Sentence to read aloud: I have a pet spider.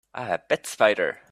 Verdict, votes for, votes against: accepted, 2, 1